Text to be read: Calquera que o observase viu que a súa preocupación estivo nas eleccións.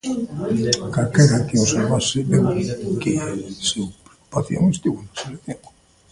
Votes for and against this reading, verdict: 0, 2, rejected